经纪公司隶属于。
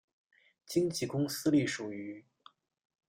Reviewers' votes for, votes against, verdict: 1, 2, rejected